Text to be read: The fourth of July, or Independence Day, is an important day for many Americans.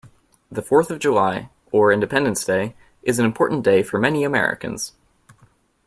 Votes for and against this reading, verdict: 2, 0, accepted